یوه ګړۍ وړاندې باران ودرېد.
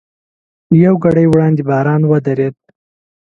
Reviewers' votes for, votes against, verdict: 2, 0, accepted